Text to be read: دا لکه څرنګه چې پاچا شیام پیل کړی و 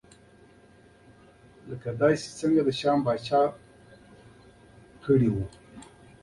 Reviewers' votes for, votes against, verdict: 2, 1, accepted